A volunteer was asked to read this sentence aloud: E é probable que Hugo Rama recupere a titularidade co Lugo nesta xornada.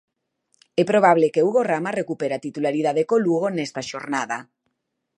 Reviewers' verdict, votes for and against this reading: accepted, 8, 2